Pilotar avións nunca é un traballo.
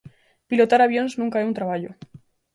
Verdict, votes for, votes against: accepted, 2, 0